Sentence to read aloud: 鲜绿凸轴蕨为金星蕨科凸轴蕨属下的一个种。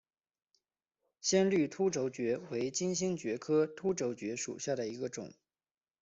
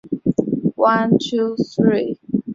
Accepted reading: first